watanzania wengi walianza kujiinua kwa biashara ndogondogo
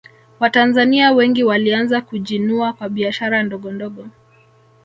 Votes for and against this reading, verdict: 1, 2, rejected